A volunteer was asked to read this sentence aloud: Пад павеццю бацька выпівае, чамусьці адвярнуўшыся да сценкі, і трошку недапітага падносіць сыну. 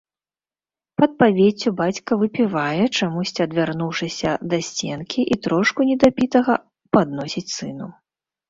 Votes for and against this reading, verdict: 2, 0, accepted